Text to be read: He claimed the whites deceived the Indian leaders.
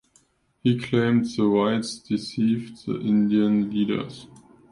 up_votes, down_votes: 2, 0